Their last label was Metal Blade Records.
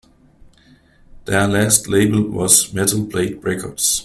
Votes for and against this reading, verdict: 2, 0, accepted